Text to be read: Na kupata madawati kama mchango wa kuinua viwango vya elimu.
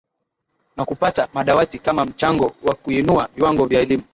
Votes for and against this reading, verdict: 2, 0, accepted